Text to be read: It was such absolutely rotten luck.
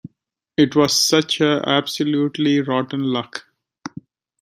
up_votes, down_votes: 2, 1